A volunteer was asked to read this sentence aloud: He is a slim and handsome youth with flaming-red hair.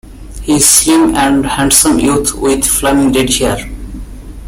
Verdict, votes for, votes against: rejected, 0, 2